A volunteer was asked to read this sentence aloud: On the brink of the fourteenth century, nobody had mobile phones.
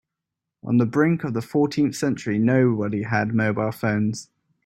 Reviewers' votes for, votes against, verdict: 2, 0, accepted